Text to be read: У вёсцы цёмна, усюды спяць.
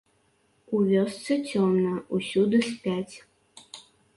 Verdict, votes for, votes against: accepted, 2, 0